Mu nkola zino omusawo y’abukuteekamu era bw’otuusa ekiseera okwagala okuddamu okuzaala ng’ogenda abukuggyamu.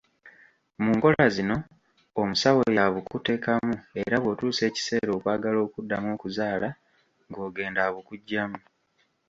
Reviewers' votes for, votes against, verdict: 1, 2, rejected